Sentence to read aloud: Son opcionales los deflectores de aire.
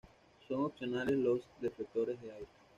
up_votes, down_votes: 2, 0